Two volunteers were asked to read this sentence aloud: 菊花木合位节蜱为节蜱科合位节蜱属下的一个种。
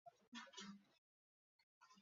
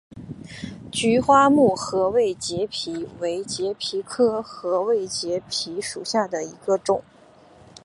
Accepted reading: second